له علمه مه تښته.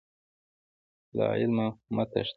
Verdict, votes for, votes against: rejected, 1, 2